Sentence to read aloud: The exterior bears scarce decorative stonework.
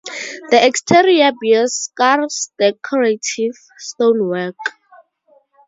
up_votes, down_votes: 2, 2